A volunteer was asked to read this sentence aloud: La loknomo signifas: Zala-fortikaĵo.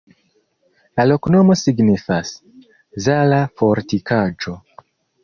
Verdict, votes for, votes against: accepted, 2, 0